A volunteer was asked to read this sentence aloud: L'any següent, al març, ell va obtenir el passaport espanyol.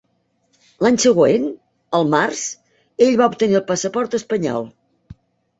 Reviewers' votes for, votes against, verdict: 3, 0, accepted